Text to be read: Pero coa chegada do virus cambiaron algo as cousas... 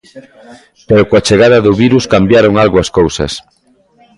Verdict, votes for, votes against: accepted, 2, 0